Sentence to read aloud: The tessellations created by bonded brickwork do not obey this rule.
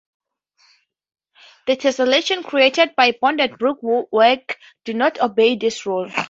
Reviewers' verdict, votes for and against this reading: rejected, 0, 4